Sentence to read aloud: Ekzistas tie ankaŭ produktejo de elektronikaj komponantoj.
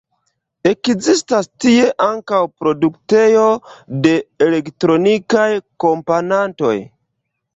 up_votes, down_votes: 0, 2